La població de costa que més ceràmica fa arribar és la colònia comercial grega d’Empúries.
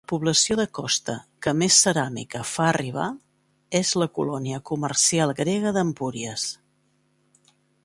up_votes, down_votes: 0, 2